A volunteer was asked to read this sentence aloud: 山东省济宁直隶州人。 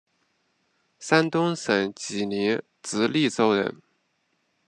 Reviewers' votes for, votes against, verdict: 0, 2, rejected